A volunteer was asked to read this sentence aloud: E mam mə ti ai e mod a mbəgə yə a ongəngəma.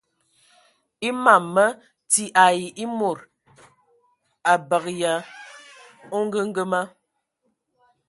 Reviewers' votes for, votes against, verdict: 2, 1, accepted